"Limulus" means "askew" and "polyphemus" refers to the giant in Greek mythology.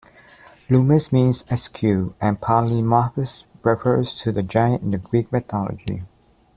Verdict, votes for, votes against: rejected, 1, 2